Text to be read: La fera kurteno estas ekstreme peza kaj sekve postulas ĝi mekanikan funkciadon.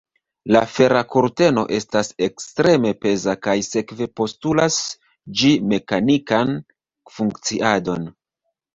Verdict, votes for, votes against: rejected, 0, 2